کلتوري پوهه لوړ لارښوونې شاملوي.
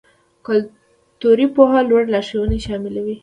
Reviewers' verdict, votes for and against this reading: accepted, 2, 0